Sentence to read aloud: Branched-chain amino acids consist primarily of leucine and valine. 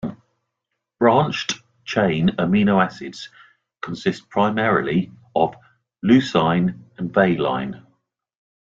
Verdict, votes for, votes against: accepted, 2, 0